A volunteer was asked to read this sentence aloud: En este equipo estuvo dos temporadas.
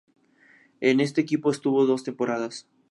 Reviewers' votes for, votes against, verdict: 2, 0, accepted